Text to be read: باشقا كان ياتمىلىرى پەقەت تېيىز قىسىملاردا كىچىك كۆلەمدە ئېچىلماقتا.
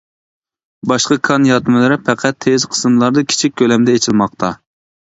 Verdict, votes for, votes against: accepted, 2, 0